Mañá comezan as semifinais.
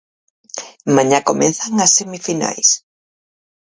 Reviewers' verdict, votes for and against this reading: accepted, 4, 2